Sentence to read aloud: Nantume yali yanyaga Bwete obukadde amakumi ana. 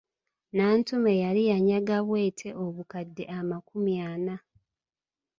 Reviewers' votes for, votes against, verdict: 2, 0, accepted